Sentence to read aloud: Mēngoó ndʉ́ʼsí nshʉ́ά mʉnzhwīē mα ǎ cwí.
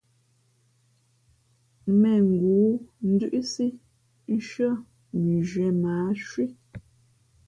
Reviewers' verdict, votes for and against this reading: accepted, 2, 0